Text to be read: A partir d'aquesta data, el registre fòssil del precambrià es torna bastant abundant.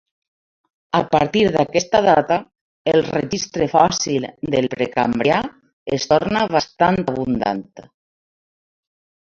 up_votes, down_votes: 2, 0